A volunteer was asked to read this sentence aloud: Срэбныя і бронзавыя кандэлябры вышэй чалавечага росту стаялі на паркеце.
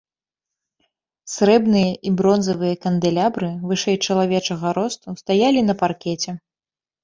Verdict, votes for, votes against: accepted, 2, 0